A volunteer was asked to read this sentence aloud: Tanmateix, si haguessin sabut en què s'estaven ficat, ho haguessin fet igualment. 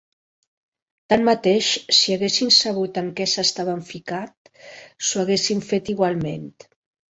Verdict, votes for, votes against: rejected, 1, 3